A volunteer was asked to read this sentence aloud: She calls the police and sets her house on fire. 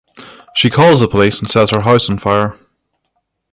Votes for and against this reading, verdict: 6, 0, accepted